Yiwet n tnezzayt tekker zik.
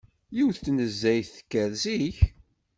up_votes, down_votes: 2, 0